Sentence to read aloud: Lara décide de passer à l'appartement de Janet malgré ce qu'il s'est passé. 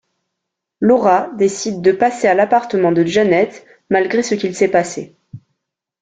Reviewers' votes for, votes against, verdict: 0, 2, rejected